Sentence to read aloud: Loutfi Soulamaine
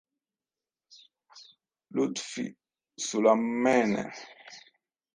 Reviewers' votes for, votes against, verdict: 1, 2, rejected